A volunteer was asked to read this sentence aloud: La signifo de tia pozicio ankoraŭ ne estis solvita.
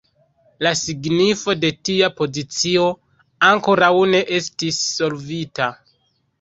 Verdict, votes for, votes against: rejected, 1, 2